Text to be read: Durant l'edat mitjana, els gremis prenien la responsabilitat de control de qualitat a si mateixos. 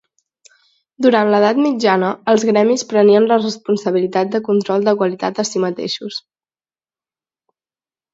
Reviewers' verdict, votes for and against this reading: accepted, 4, 0